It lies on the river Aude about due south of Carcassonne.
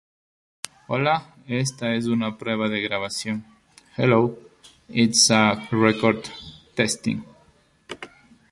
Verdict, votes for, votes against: rejected, 0, 2